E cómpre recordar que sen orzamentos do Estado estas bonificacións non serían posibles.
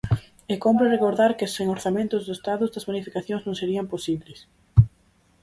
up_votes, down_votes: 4, 0